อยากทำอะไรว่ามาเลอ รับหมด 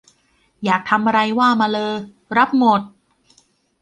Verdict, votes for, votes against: accepted, 2, 0